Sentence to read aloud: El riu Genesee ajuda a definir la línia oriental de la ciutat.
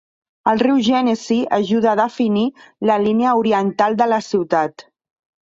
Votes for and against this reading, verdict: 3, 0, accepted